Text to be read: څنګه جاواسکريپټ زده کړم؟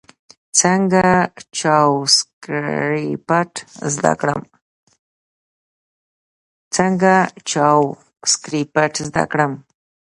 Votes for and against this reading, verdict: 1, 2, rejected